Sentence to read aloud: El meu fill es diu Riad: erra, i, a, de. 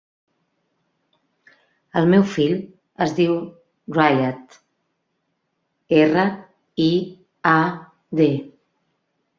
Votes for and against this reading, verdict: 1, 2, rejected